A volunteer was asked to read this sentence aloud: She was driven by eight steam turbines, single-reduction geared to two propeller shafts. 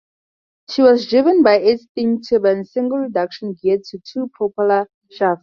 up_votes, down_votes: 4, 2